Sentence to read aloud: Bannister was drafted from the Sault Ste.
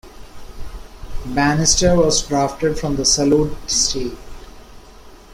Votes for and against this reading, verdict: 1, 2, rejected